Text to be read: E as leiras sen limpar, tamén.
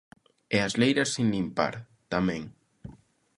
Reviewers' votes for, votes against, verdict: 0, 3, rejected